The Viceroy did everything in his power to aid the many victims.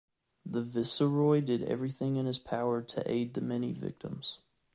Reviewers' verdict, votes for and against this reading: rejected, 1, 2